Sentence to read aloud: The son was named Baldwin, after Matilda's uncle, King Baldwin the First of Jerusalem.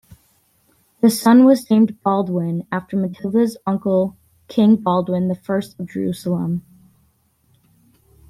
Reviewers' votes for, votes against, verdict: 2, 0, accepted